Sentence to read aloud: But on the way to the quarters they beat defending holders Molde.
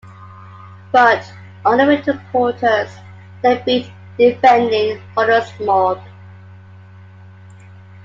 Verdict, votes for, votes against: accepted, 2, 1